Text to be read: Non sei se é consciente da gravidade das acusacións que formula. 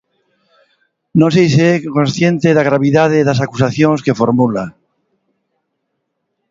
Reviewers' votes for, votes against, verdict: 2, 0, accepted